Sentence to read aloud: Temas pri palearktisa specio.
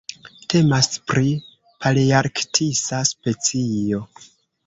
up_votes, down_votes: 1, 2